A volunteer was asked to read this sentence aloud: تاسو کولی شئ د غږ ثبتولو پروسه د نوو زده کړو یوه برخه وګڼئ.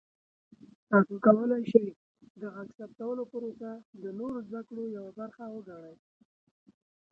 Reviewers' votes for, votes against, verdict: 0, 2, rejected